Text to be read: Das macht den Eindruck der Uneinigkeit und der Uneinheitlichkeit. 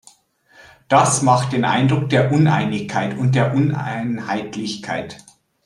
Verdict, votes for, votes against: accepted, 2, 0